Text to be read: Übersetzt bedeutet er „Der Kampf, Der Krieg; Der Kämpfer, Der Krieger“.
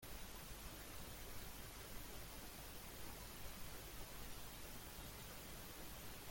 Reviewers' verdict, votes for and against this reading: rejected, 0, 2